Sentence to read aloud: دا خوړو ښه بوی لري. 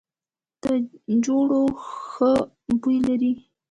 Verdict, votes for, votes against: accepted, 2, 0